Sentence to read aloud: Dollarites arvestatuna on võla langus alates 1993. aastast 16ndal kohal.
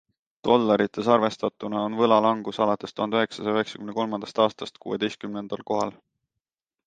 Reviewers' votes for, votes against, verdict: 0, 2, rejected